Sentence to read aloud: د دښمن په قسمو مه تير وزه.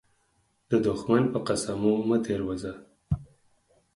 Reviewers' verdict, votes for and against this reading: accepted, 4, 0